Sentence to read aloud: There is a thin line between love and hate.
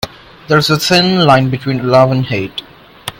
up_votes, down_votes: 2, 1